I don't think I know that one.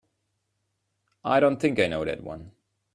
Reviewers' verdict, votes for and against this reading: accepted, 2, 1